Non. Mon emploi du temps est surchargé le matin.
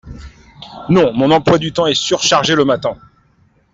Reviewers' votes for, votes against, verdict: 2, 0, accepted